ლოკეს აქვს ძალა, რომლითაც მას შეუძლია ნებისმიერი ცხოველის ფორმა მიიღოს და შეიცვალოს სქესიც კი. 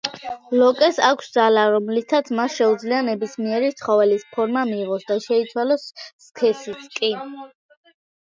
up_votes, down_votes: 1, 2